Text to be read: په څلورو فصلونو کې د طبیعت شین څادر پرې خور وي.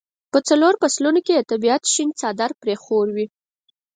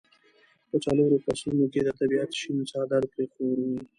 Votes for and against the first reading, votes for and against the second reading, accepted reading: 4, 0, 1, 2, first